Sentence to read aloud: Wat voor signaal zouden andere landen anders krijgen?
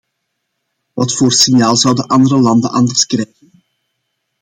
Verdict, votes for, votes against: rejected, 0, 2